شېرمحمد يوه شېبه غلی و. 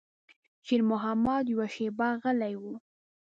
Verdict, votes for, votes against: accepted, 2, 0